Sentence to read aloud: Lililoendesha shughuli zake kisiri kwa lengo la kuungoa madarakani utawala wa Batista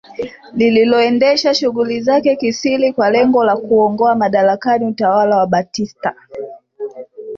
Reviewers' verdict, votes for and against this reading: accepted, 3, 0